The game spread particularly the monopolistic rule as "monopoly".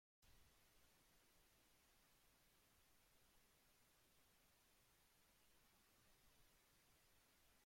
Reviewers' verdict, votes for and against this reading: rejected, 0, 2